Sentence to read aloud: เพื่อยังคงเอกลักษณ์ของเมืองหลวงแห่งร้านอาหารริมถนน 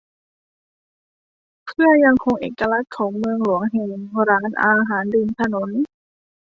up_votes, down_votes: 2, 0